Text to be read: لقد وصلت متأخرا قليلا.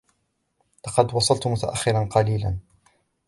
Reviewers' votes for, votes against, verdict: 0, 2, rejected